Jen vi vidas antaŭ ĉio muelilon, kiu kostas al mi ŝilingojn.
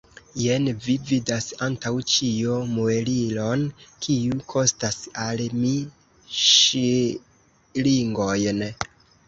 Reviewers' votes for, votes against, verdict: 1, 2, rejected